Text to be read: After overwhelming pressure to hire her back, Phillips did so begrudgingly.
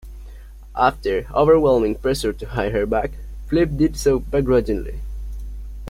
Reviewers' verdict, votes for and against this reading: accepted, 2, 0